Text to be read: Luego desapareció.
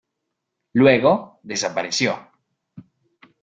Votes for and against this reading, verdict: 2, 0, accepted